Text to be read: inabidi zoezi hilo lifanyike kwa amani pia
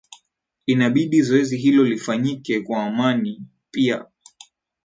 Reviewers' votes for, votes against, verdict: 2, 0, accepted